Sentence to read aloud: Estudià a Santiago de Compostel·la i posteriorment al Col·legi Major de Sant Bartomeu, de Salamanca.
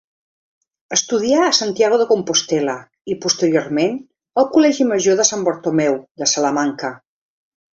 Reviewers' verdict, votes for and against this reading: accepted, 3, 0